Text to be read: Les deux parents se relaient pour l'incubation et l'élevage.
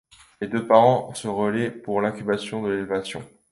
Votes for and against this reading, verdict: 0, 2, rejected